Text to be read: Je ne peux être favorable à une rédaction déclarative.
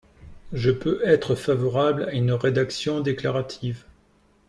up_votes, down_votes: 0, 2